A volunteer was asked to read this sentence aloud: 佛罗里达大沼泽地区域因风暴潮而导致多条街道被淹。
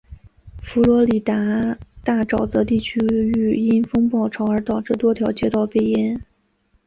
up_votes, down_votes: 2, 0